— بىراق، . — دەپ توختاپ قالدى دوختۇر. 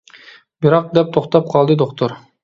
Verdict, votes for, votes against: accepted, 2, 0